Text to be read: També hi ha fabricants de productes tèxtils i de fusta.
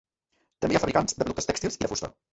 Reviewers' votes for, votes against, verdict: 0, 2, rejected